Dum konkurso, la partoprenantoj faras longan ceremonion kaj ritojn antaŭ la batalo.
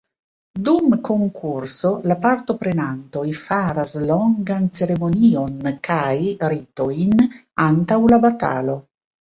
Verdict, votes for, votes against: accepted, 2, 0